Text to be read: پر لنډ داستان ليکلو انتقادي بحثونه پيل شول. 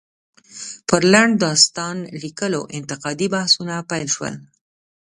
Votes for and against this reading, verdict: 0, 2, rejected